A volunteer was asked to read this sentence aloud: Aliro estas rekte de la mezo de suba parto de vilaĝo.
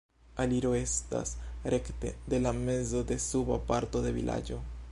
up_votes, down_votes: 2, 1